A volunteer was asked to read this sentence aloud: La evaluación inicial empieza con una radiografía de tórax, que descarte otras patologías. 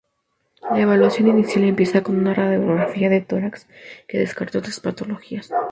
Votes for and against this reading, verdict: 2, 2, rejected